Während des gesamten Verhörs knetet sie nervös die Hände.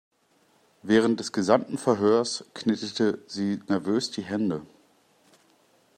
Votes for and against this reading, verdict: 0, 2, rejected